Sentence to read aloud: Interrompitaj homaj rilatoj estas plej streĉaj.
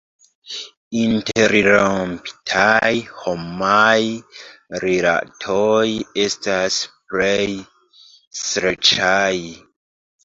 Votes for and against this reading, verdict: 1, 2, rejected